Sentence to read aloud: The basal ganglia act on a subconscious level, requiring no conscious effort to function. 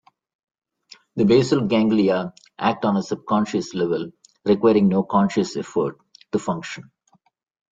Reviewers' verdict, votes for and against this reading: accepted, 2, 1